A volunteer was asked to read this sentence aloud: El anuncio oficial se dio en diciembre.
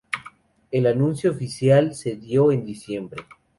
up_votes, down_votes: 2, 0